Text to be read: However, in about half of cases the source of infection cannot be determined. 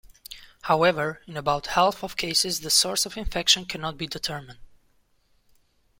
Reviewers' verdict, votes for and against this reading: accepted, 2, 0